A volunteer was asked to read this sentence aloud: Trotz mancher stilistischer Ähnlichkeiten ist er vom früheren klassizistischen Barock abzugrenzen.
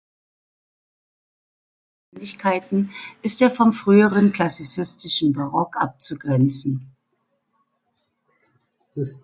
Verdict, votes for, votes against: rejected, 0, 2